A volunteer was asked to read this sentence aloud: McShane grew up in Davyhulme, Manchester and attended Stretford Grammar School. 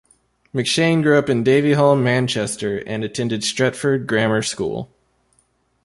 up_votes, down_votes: 3, 0